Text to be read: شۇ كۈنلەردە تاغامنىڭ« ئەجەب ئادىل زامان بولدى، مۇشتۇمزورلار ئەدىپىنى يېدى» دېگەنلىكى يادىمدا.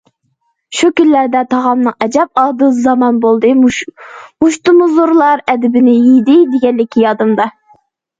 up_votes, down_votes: 0, 2